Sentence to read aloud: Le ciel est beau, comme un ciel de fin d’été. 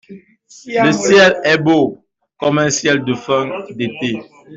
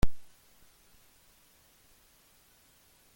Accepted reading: first